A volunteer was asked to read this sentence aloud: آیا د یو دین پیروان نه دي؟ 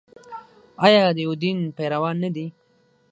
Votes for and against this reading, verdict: 6, 9, rejected